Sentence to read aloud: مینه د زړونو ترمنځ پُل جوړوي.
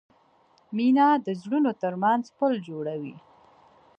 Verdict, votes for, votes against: accepted, 2, 0